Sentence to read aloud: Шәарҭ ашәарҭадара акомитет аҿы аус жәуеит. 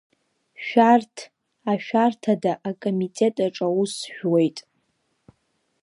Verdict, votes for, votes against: rejected, 0, 2